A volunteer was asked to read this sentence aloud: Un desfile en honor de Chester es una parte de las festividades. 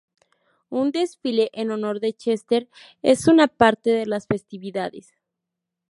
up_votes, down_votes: 2, 0